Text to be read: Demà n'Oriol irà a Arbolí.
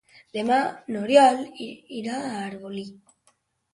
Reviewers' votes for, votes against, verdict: 2, 0, accepted